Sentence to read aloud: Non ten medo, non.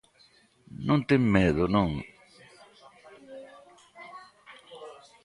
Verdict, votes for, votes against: rejected, 1, 2